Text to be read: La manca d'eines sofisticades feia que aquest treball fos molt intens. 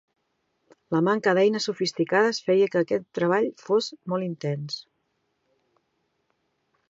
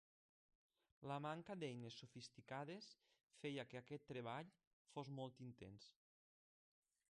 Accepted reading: first